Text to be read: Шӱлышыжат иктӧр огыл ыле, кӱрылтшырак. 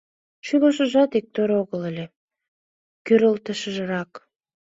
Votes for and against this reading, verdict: 1, 2, rejected